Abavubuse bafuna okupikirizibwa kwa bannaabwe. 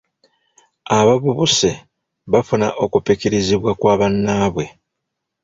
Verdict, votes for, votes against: rejected, 1, 2